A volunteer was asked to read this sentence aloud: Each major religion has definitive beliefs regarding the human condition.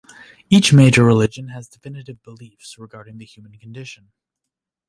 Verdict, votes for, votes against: rejected, 1, 2